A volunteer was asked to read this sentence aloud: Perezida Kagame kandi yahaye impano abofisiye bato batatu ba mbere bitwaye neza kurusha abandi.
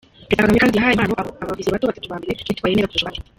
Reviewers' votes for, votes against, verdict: 0, 3, rejected